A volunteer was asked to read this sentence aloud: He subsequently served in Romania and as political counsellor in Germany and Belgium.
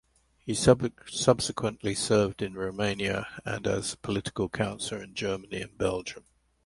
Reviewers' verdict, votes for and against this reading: rejected, 0, 2